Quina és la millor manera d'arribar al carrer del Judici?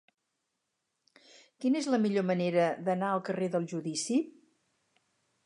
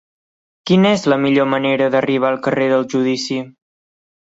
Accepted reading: second